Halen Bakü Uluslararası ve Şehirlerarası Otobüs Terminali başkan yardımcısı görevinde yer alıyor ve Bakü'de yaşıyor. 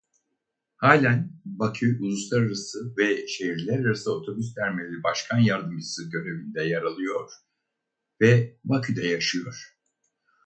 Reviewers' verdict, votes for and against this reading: rejected, 0, 4